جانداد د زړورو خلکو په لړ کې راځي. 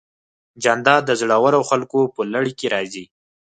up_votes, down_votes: 4, 0